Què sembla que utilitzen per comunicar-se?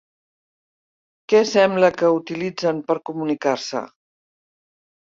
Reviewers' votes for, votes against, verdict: 3, 0, accepted